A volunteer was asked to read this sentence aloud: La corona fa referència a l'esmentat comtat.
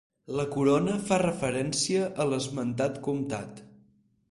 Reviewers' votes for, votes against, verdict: 4, 2, accepted